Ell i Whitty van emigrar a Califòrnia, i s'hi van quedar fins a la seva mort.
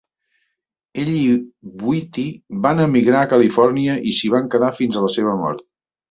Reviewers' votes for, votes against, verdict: 0, 2, rejected